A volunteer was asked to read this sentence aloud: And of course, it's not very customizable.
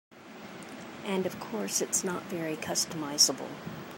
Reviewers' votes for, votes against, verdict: 2, 0, accepted